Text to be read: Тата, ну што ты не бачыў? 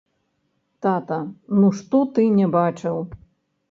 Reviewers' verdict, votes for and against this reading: rejected, 0, 2